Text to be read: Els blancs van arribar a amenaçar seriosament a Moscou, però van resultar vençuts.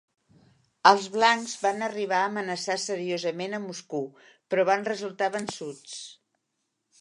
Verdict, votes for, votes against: rejected, 1, 2